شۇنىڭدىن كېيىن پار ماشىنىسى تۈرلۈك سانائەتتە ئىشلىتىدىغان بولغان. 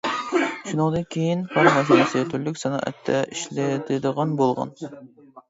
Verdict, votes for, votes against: rejected, 0, 2